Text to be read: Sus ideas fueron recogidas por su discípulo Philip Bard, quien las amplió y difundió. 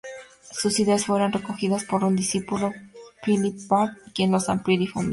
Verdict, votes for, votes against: accepted, 2, 0